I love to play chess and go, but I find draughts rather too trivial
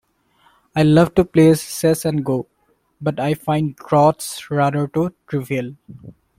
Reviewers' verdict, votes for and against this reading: rejected, 1, 2